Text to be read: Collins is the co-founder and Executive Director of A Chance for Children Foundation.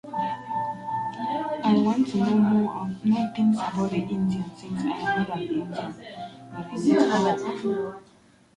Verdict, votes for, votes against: rejected, 0, 2